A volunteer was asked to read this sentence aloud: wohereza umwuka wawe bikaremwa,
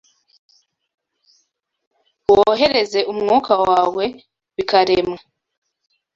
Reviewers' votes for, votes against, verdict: 0, 2, rejected